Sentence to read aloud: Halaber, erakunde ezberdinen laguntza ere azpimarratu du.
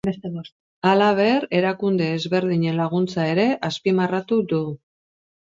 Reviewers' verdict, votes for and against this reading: rejected, 0, 2